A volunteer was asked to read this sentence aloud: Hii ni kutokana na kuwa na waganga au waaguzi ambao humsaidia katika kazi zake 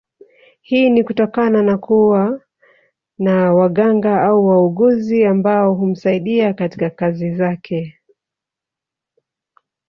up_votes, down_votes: 0, 2